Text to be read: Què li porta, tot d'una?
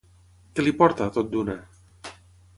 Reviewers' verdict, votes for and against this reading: accepted, 6, 0